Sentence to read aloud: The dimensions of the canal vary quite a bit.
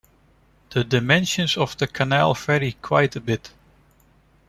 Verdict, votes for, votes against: accepted, 2, 0